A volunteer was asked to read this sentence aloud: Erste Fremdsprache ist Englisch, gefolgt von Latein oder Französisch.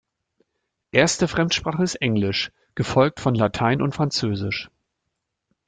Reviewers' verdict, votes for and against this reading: rejected, 0, 2